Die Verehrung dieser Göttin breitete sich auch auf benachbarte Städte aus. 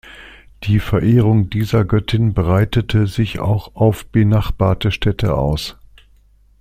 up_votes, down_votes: 2, 0